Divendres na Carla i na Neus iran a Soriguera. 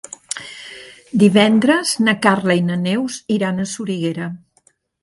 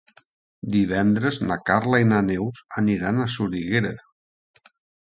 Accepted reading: first